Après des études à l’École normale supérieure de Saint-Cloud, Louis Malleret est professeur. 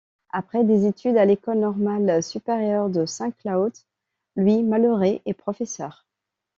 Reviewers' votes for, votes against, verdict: 0, 2, rejected